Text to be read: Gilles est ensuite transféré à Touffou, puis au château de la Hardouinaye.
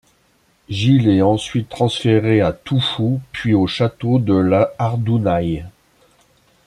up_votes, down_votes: 1, 2